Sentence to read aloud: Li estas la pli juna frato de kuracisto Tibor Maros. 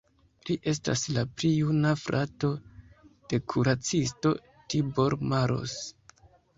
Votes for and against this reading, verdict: 2, 0, accepted